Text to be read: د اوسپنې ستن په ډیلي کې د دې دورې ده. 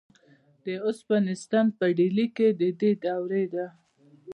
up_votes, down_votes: 0, 2